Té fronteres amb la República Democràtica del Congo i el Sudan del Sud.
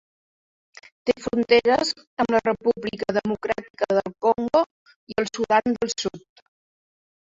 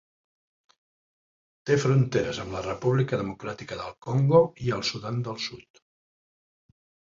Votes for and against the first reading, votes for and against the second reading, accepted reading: 0, 2, 3, 0, second